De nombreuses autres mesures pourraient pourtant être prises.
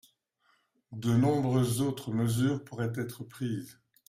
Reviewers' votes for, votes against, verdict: 0, 2, rejected